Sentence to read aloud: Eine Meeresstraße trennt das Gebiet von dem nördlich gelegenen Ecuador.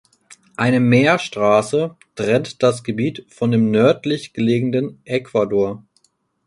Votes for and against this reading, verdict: 0, 4, rejected